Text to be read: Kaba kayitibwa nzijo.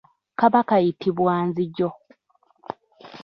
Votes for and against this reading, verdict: 2, 1, accepted